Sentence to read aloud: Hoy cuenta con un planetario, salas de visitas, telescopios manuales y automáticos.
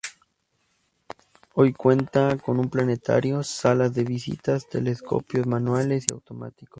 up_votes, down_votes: 4, 0